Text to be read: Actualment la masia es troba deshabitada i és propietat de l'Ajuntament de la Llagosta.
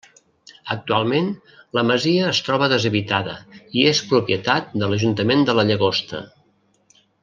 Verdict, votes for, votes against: accepted, 3, 0